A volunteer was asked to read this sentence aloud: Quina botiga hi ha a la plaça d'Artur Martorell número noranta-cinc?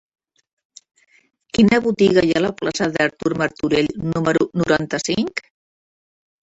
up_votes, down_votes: 0, 2